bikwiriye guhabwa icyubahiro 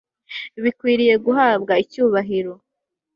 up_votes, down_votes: 2, 0